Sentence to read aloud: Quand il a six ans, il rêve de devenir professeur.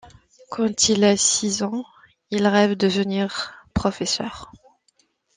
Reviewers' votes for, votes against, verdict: 1, 2, rejected